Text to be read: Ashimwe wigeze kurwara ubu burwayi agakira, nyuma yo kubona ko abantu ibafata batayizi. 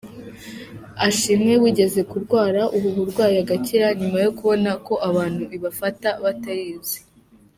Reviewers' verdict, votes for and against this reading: accepted, 3, 0